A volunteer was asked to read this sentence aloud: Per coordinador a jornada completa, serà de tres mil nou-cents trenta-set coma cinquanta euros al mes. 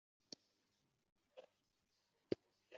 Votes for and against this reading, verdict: 0, 2, rejected